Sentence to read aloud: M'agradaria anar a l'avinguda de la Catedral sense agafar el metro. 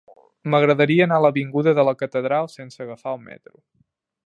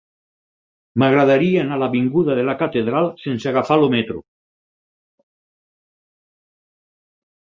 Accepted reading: first